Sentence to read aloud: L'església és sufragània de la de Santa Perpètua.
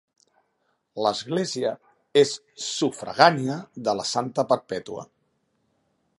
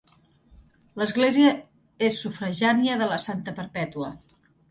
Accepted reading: first